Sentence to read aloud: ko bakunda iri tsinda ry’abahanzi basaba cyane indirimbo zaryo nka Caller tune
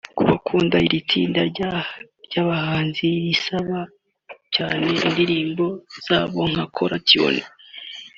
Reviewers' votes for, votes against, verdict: 1, 2, rejected